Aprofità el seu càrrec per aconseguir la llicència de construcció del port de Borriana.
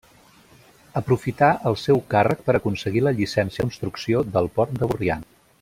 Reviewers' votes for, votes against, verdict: 1, 2, rejected